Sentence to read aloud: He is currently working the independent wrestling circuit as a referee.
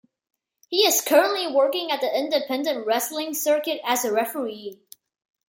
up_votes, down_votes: 1, 2